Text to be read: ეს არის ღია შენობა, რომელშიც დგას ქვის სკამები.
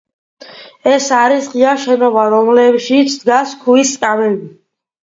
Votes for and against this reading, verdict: 2, 0, accepted